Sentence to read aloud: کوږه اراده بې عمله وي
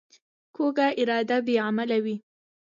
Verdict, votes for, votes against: rejected, 1, 2